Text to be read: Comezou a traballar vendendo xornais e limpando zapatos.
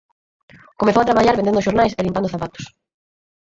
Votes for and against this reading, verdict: 0, 4, rejected